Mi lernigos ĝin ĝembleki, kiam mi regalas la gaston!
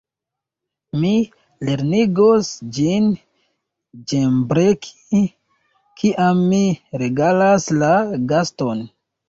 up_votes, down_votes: 1, 3